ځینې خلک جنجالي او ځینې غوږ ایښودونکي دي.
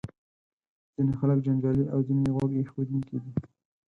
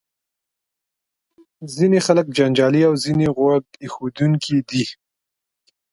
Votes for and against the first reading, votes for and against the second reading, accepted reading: 2, 4, 2, 0, second